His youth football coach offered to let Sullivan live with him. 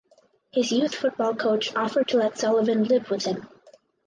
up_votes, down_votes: 4, 0